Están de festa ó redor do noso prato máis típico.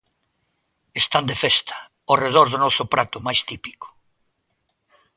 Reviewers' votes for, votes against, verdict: 2, 0, accepted